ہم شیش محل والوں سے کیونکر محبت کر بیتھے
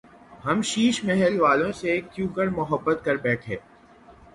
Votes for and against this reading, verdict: 3, 3, rejected